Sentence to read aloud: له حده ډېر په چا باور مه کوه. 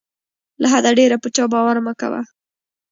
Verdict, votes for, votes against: rejected, 1, 2